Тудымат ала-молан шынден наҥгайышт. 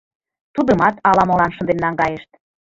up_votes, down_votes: 2, 0